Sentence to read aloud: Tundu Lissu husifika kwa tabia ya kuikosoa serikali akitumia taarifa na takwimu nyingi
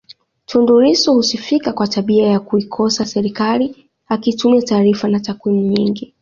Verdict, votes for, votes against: accepted, 2, 1